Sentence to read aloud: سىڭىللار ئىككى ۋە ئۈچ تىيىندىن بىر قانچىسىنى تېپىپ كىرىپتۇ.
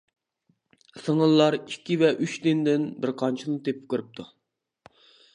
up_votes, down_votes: 1, 2